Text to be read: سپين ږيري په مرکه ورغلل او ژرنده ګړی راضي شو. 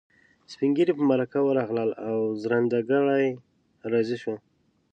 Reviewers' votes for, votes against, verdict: 2, 0, accepted